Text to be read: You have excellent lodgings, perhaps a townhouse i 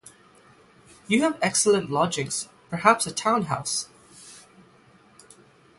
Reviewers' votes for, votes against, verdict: 0, 3, rejected